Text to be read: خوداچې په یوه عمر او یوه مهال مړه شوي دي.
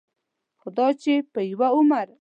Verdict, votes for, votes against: rejected, 2, 3